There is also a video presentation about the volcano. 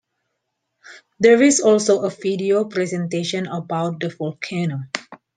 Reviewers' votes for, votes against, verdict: 2, 0, accepted